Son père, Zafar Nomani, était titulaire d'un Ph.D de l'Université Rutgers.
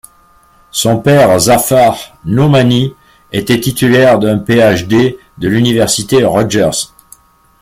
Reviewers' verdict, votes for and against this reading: accepted, 2, 0